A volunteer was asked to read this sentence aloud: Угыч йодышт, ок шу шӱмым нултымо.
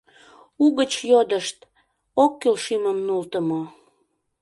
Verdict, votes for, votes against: rejected, 0, 2